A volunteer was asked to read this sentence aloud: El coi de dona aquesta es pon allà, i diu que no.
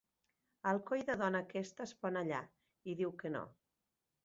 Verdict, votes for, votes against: rejected, 0, 2